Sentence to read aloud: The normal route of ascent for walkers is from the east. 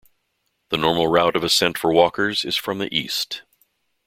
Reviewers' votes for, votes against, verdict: 2, 0, accepted